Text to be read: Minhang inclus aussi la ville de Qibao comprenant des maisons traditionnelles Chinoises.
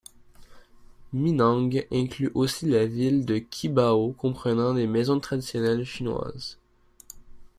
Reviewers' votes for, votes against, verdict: 2, 0, accepted